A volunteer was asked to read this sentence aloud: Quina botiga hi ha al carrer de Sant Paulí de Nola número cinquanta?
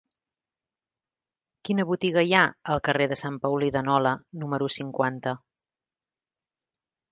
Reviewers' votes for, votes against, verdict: 3, 0, accepted